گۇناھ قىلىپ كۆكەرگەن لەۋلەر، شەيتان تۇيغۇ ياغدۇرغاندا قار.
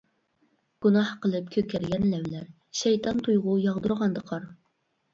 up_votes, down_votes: 2, 0